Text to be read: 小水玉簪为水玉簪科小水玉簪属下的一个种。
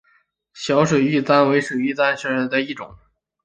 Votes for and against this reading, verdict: 0, 2, rejected